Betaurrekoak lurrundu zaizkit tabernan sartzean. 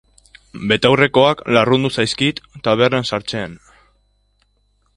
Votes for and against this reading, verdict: 0, 2, rejected